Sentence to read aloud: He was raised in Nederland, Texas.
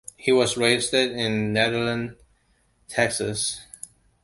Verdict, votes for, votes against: accepted, 2, 0